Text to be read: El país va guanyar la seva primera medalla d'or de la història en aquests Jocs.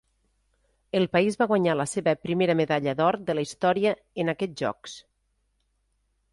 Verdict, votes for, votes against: accepted, 3, 0